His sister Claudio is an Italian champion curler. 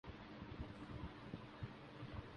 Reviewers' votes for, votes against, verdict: 0, 2, rejected